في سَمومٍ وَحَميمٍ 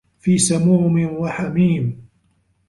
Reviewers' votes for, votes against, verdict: 2, 0, accepted